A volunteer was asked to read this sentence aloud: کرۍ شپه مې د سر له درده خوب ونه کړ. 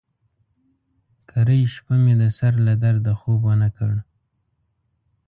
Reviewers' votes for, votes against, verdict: 2, 0, accepted